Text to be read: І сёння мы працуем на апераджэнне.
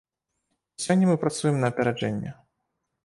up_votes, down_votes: 0, 2